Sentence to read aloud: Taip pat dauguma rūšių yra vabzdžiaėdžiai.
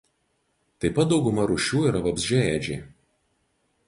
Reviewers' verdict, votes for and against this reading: accepted, 2, 0